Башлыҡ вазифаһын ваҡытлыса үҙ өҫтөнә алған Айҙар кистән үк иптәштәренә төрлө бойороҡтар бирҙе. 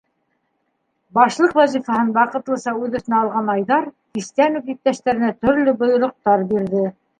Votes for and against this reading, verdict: 2, 1, accepted